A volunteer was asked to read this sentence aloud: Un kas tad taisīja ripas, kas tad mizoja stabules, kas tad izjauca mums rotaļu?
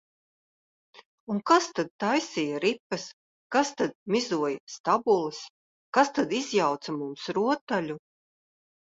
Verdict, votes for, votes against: accepted, 2, 0